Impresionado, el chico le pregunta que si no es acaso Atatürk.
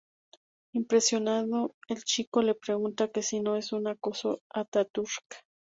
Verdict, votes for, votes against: accepted, 2, 0